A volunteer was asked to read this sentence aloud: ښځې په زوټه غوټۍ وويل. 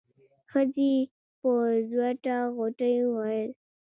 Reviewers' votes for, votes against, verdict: 2, 1, accepted